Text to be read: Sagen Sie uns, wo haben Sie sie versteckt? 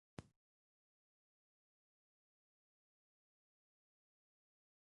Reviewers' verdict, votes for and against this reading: rejected, 0, 2